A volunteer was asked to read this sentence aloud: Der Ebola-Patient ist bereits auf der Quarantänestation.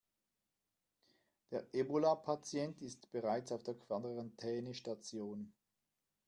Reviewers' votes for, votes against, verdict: 1, 2, rejected